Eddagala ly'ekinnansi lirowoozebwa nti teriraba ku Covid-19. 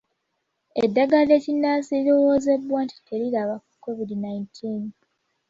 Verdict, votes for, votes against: rejected, 0, 2